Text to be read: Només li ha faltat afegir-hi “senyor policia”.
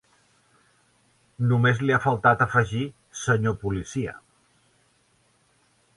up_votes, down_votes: 1, 2